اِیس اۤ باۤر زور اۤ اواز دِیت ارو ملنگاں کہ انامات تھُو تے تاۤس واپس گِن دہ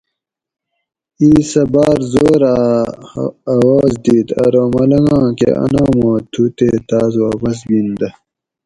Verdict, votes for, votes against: accepted, 4, 0